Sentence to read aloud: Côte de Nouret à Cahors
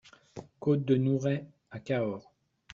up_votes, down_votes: 2, 0